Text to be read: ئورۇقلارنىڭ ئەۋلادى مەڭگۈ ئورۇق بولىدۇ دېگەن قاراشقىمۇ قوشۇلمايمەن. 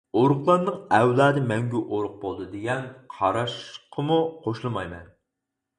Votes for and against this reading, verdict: 2, 4, rejected